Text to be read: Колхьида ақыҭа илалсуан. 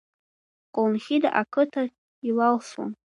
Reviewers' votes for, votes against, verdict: 0, 2, rejected